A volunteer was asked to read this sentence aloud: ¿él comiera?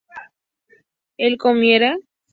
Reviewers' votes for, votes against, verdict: 2, 0, accepted